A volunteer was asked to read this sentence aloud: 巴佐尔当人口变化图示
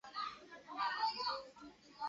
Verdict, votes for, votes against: rejected, 1, 2